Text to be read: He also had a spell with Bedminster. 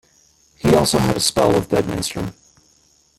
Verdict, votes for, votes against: rejected, 0, 2